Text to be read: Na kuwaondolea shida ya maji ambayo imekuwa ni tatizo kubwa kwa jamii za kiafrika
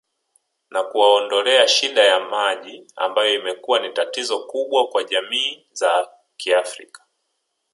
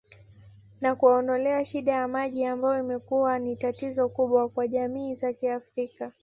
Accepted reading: first